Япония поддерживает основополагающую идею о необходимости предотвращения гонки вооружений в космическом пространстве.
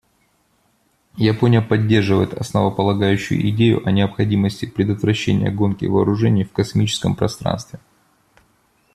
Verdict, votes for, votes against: accepted, 2, 0